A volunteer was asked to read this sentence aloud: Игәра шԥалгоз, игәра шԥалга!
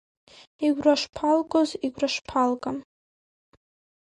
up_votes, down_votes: 2, 0